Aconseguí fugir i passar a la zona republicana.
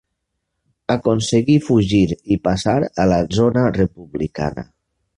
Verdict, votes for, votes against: accepted, 3, 0